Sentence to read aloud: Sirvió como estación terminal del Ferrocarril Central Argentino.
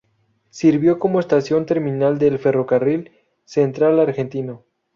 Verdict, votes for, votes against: rejected, 2, 2